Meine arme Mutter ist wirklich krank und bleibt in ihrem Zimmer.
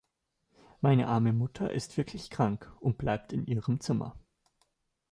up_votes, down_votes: 2, 0